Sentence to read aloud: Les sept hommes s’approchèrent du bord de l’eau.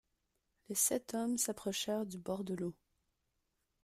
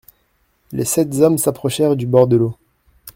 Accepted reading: first